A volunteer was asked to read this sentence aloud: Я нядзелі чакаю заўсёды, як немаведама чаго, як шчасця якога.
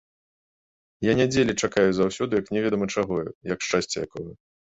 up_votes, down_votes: 2, 1